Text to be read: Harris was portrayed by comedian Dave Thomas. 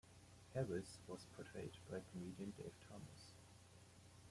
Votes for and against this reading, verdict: 2, 1, accepted